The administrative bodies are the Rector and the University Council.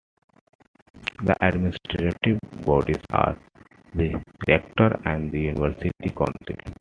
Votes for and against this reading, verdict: 0, 2, rejected